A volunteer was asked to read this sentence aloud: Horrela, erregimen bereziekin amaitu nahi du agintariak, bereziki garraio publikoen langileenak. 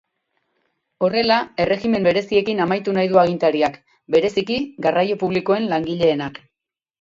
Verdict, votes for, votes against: accepted, 6, 0